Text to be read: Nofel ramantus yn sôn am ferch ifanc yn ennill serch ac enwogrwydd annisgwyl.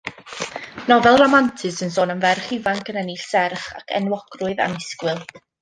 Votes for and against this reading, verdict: 1, 2, rejected